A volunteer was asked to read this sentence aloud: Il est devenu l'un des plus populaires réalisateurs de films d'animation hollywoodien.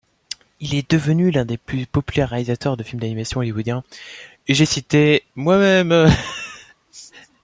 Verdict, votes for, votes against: rejected, 0, 2